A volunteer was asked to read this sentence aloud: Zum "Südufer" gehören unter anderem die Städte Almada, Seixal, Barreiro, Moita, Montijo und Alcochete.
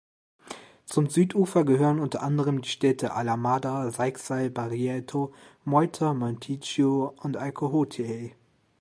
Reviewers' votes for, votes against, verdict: 1, 2, rejected